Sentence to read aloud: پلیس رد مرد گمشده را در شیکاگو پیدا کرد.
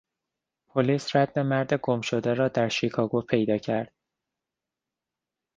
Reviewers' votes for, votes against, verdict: 2, 0, accepted